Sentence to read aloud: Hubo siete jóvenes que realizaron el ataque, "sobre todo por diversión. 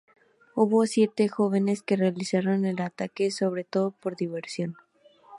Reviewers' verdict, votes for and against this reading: rejected, 0, 2